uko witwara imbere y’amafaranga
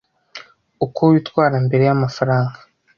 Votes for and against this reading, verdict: 2, 0, accepted